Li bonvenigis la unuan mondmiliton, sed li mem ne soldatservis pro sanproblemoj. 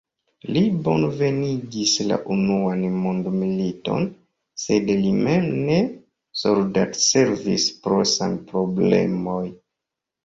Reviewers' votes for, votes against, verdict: 1, 2, rejected